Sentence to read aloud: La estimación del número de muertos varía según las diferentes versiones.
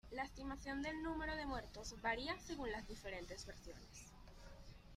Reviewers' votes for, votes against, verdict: 2, 0, accepted